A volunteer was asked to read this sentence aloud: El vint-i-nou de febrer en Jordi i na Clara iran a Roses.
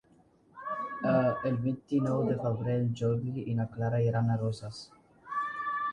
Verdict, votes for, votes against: rejected, 1, 2